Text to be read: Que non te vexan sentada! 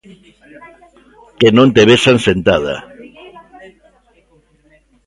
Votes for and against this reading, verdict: 2, 0, accepted